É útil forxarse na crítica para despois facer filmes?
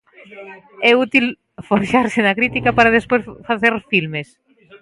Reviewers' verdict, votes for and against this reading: rejected, 0, 2